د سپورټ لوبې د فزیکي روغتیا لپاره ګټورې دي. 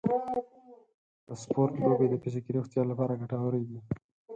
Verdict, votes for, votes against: rejected, 2, 4